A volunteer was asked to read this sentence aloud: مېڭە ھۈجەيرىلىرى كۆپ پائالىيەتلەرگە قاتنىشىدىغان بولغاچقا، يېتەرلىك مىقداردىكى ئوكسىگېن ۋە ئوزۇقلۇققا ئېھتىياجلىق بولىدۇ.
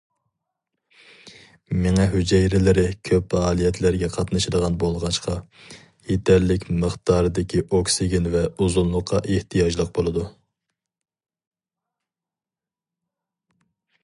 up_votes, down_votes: 0, 2